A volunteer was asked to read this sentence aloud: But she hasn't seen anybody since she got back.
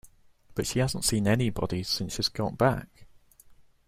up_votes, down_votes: 0, 2